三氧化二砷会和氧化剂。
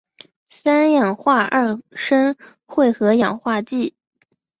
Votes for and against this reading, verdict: 3, 0, accepted